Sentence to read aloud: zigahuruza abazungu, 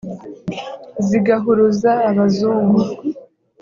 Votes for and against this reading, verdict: 3, 0, accepted